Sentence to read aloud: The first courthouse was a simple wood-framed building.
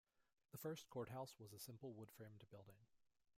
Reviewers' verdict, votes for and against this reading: accepted, 2, 1